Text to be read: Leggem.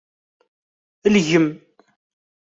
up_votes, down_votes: 1, 2